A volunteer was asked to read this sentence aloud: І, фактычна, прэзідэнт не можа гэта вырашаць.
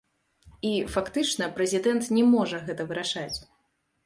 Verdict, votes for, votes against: accepted, 2, 0